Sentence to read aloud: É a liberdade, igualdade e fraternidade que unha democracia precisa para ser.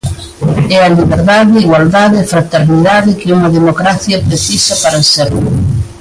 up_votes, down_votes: 3, 0